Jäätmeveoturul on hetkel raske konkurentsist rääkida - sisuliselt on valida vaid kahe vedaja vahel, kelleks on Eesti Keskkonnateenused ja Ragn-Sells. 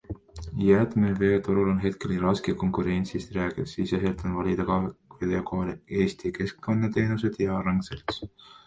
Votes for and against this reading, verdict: 0, 2, rejected